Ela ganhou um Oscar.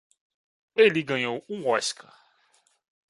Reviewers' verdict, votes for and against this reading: rejected, 0, 2